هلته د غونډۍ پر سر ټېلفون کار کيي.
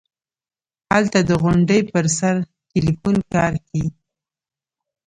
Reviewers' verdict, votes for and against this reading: rejected, 1, 2